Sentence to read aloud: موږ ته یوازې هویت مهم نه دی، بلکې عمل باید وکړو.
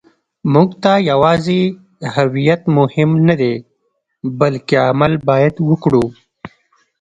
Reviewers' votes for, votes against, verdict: 0, 2, rejected